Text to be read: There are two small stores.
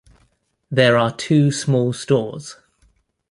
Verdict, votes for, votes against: accepted, 2, 0